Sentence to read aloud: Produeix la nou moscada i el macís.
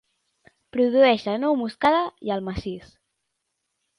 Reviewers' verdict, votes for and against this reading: accepted, 2, 0